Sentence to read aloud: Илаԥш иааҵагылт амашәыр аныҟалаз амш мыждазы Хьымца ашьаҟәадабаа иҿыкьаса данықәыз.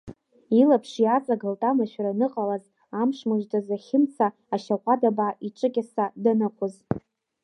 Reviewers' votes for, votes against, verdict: 2, 1, accepted